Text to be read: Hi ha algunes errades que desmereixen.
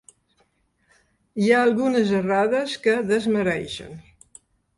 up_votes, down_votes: 3, 0